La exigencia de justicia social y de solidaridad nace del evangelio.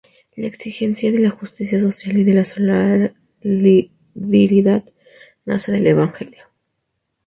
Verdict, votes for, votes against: rejected, 0, 2